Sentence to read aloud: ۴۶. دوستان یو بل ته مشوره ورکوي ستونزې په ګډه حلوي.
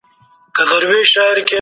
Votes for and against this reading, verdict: 0, 2, rejected